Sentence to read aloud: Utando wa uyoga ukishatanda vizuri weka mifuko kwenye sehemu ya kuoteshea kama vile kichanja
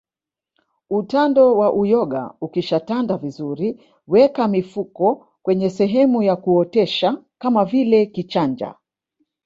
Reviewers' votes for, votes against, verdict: 0, 2, rejected